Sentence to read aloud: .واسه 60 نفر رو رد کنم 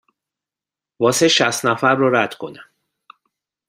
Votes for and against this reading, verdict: 0, 2, rejected